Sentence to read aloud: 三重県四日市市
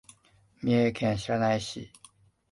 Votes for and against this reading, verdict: 0, 2, rejected